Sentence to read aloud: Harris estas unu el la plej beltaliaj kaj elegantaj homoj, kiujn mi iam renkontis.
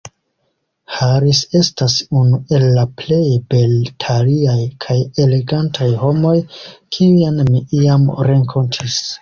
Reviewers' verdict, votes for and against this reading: accepted, 2, 0